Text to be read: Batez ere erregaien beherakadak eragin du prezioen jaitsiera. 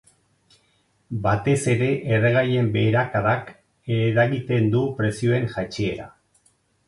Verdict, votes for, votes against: rejected, 0, 4